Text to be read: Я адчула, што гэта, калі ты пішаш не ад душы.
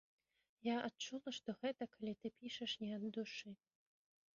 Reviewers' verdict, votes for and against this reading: rejected, 1, 2